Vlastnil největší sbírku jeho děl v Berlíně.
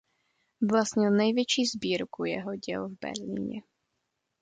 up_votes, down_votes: 2, 0